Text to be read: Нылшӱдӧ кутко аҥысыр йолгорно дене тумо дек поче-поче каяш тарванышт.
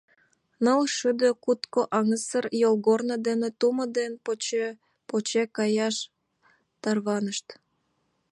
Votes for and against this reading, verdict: 1, 2, rejected